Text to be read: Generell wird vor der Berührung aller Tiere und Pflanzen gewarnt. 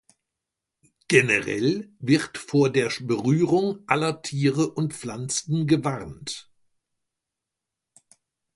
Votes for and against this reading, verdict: 2, 1, accepted